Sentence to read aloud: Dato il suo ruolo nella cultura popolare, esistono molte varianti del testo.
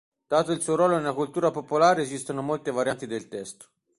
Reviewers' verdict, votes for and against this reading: accepted, 2, 0